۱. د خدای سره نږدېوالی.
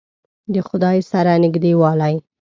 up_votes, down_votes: 0, 2